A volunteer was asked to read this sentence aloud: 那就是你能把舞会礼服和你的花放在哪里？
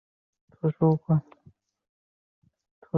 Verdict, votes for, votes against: rejected, 0, 3